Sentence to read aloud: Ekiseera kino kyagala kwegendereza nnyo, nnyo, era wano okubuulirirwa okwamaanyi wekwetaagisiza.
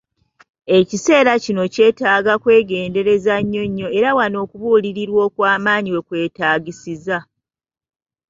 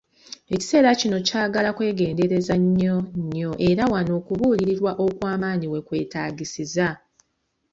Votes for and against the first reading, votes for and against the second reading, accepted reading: 1, 2, 2, 0, second